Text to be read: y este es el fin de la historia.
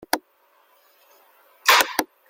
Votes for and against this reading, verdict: 0, 2, rejected